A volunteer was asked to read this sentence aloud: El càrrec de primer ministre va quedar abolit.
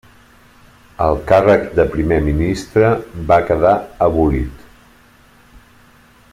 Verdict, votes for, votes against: accepted, 4, 0